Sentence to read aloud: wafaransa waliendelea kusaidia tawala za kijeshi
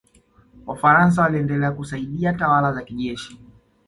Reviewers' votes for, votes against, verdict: 2, 0, accepted